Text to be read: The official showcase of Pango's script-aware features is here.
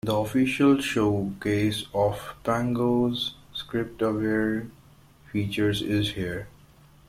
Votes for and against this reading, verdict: 2, 0, accepted